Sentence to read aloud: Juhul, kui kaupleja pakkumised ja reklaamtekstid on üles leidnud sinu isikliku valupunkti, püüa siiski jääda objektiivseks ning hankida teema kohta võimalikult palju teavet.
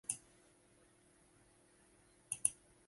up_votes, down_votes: 0, 2